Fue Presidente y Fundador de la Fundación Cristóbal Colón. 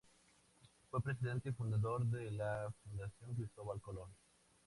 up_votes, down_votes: 2, 0